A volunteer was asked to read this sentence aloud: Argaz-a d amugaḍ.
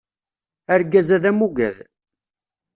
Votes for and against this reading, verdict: 1, 2, rejected